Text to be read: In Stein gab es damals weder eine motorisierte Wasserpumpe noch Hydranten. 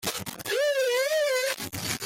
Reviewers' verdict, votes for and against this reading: rejected, 0, 2